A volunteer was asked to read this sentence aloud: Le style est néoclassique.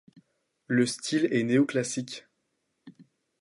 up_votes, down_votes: 2, 0